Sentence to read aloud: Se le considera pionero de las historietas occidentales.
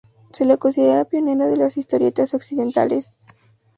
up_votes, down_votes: 2, 0